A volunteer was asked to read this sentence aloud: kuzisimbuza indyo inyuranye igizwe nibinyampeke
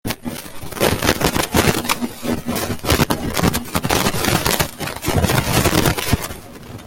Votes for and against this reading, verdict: 0, 2, rejected